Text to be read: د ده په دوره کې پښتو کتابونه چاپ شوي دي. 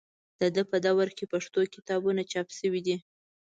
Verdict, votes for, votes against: accepted, 2, 0